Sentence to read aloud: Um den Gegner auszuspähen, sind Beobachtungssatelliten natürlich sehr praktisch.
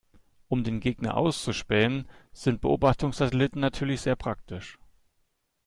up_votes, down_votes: 2, 0